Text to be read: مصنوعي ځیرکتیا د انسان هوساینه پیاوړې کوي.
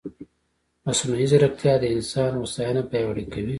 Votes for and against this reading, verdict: 2, 1, accepted